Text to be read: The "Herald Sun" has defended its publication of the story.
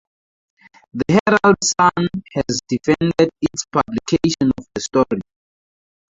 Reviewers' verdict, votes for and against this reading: rejected, 2, 2